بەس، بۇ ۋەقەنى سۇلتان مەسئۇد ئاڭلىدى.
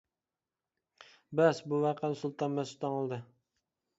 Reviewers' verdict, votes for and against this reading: rejected, 1, 2